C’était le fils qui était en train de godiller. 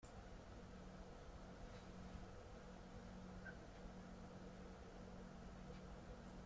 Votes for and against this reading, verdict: 0, 2, rejected